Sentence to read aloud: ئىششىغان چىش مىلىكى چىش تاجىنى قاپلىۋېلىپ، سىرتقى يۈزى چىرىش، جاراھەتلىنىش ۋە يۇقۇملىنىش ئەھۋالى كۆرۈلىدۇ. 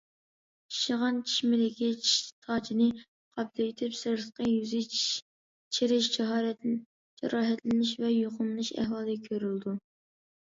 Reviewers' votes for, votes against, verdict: 0, 2, rejected